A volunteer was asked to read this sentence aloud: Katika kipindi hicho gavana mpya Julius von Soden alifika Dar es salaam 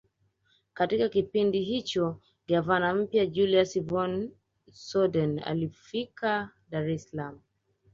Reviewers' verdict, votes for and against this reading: rejected, 0, 2